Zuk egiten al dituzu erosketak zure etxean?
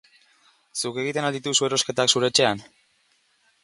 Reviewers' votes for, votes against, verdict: 4, 0, accepted